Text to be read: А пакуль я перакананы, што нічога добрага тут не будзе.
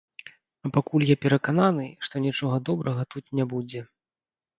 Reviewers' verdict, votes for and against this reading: rejected, 0, 2